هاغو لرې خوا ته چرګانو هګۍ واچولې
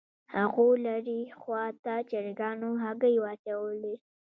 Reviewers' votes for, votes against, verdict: 1, 2, rejected